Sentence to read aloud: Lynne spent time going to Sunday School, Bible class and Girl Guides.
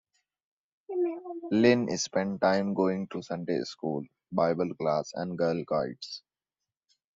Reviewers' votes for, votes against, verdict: 1, 2, rejected